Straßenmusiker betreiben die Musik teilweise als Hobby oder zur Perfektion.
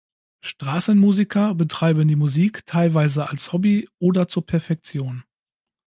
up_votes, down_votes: 2, 0